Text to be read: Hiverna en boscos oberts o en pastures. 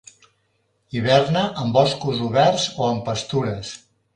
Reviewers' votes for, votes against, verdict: 2, 0, accepted